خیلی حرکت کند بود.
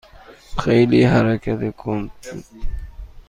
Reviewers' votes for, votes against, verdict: 3, 0, accepted